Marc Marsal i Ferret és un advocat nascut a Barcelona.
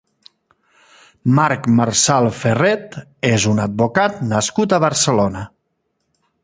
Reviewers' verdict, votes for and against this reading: rejected, 0, 2